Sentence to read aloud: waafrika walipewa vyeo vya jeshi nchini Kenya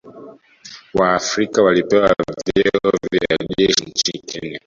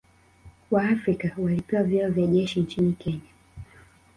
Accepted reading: second